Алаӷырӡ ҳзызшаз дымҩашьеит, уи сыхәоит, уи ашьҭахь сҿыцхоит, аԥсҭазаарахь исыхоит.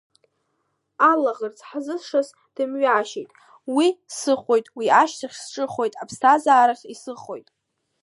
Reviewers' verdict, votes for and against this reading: rejected, 0, 2